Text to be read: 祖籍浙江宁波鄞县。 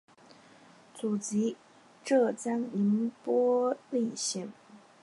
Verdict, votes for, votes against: accepted, 3, 1